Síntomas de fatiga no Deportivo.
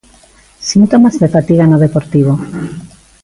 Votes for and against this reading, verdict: 2, 1, accepted